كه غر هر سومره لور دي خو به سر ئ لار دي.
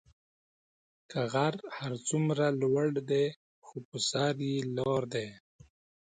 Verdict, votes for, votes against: rejected, 1, 2